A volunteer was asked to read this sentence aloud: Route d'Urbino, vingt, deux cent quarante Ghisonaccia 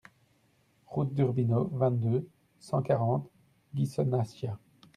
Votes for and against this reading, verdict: 2, 0, accepted